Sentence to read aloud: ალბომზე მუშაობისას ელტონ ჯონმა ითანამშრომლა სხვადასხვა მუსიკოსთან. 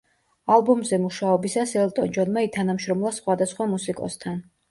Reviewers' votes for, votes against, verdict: 2, 0, accepted